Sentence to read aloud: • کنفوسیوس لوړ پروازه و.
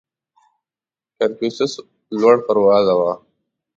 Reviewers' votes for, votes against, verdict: 2, 3, rejected